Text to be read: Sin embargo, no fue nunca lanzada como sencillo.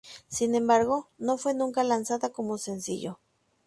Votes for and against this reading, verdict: 2, 0, accepted